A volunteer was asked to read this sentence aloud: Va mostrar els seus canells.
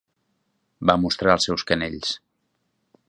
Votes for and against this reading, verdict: 3, 0, accepted